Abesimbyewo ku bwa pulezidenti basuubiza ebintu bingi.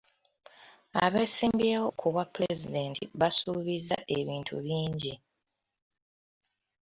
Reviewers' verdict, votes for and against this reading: accepted, 2, 1